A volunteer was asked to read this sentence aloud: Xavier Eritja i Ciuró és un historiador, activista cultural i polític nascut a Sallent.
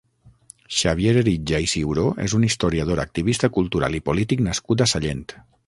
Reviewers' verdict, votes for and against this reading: accepted, 6, 0